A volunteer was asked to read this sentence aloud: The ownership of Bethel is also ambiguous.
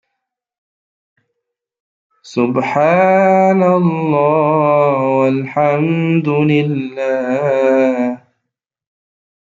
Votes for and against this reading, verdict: 0, 2, rejected